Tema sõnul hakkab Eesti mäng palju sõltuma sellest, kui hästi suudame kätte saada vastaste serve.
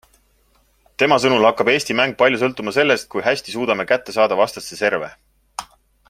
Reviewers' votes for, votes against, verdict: 3, 0, accepted